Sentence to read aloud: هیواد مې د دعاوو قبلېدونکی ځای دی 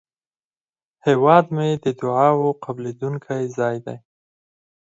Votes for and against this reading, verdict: 2, 4, rejected